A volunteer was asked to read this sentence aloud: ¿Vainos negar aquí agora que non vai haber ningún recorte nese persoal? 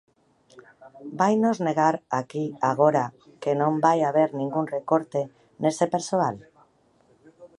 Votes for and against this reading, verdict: 1, 2, rejected